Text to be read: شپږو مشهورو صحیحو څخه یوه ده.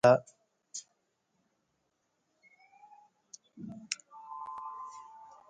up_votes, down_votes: 0, 2